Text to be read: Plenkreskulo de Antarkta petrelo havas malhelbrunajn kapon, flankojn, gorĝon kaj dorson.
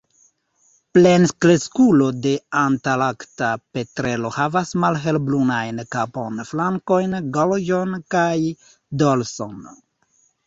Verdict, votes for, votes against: rejected, 1, 2